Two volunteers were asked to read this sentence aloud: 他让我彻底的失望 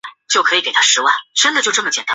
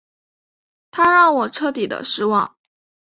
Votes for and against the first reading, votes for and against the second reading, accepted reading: 0, 3, 2, 0, second